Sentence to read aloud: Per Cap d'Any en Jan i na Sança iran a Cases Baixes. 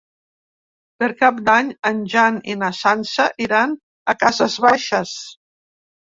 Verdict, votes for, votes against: accepted, 3, 0